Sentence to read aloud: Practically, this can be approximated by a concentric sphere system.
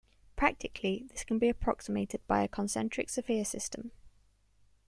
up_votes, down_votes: 1, 2